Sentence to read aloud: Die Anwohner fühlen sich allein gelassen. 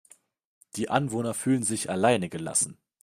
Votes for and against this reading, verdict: 0, 2, rejected